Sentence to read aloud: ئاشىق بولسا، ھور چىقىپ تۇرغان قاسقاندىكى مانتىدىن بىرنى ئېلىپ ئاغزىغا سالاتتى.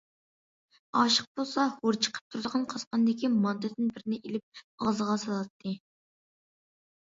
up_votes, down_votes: 2, 1